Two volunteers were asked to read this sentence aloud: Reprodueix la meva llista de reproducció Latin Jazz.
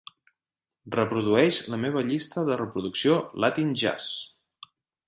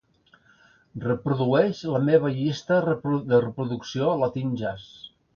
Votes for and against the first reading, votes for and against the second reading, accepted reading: 3, 0, 1, 2, first